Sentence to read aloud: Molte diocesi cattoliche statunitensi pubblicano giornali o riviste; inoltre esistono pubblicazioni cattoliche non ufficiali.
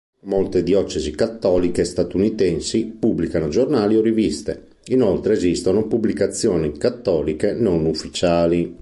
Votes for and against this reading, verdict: 2, 0, accepted